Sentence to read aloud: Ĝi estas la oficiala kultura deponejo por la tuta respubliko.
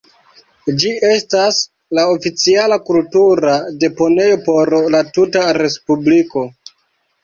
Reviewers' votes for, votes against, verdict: 2, 1, accepted